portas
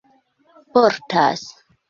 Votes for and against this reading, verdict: 3, 1, accepted